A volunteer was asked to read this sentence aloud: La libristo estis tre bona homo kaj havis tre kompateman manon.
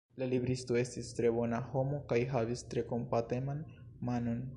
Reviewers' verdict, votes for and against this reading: accepted, 2, 0